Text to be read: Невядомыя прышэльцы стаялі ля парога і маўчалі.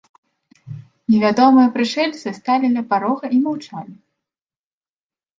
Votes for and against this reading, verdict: 0, 2, rejected